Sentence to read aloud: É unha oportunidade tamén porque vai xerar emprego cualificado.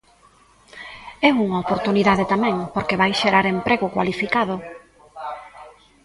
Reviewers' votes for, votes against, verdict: 1, 2, rejected